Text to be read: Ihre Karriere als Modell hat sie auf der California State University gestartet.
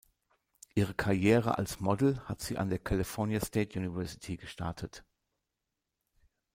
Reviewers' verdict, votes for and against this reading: rejected, 1, 2